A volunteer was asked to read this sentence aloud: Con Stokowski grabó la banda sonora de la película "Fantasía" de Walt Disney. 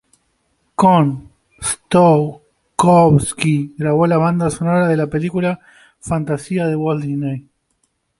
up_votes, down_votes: 1, 2